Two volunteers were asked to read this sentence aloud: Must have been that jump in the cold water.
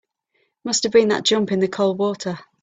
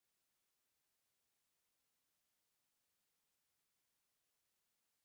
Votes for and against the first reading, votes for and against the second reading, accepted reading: 3, 0, 0, 2, first